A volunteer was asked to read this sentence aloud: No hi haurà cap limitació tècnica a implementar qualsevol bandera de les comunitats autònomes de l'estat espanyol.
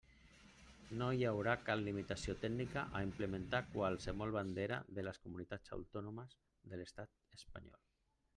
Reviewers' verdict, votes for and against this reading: rejected, 1, 2